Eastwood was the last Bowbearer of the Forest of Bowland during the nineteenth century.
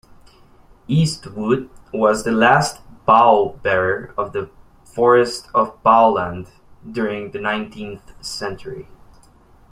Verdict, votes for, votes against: rejected, 1, 2